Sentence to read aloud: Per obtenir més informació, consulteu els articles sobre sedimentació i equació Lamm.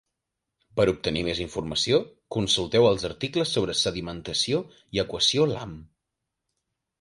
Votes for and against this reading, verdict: 3, 0, accepted